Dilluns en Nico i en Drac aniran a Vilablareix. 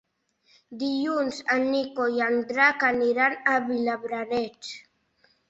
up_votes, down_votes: 2, 1